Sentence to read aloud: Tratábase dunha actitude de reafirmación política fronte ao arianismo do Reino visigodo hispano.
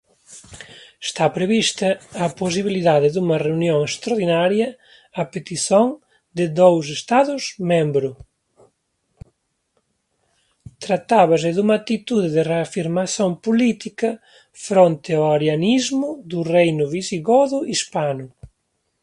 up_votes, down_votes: 0, 2